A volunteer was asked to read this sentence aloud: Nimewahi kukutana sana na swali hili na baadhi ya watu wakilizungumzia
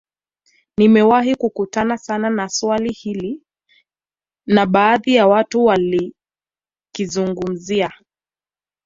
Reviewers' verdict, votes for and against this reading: rejected, 0, 2